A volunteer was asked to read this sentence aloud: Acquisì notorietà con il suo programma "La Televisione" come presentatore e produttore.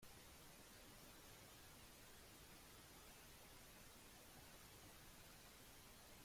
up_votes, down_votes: 0, 2